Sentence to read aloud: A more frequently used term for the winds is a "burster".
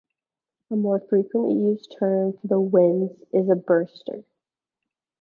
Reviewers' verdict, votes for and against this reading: accepted, 2, 1